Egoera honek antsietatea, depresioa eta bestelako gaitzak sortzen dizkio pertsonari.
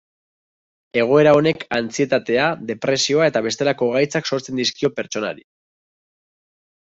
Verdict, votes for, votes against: accepted, 2, 0